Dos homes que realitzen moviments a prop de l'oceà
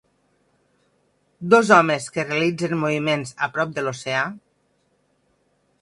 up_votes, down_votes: 6, 2